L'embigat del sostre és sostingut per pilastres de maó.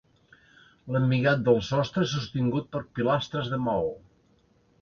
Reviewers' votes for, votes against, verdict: 1, 2, rejected